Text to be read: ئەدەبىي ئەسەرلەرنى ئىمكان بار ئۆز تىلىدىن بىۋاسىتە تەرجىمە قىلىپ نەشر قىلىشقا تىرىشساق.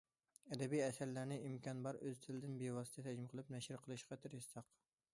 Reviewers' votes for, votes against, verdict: 2, 0, accepted